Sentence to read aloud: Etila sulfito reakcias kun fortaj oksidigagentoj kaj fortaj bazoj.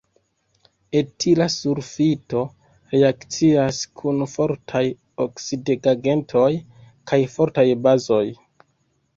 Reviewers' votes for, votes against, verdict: 2, 0, accepted